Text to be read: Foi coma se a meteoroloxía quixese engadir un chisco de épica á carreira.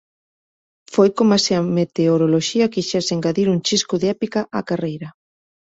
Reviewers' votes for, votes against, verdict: 2, 0, accepted